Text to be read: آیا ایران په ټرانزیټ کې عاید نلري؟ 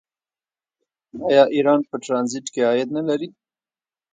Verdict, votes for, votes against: accepted, 2, 0